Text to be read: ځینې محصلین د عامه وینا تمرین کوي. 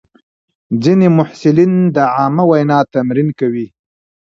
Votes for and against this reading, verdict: 0, 2, rejected